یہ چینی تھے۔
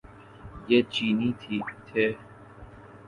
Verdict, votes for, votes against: rejected, 1, 2